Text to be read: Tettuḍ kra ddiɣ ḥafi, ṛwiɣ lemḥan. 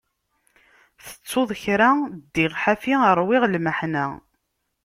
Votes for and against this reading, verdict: 1, 2, rejected